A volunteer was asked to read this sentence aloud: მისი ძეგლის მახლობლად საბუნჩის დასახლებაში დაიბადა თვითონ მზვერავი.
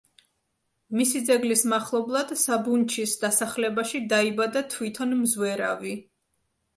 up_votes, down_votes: 2, 0